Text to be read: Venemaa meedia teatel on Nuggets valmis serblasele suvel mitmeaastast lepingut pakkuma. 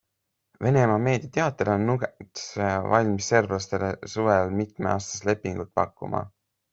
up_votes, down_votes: 2, 3